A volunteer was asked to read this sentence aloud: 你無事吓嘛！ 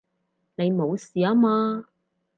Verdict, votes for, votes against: rejected, 2, 4